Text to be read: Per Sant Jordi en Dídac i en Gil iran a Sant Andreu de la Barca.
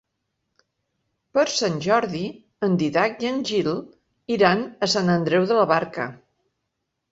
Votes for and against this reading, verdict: 0, 2, rejected